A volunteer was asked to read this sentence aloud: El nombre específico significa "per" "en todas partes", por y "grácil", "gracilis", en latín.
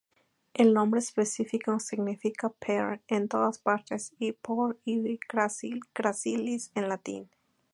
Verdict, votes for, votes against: rejected, 0, 2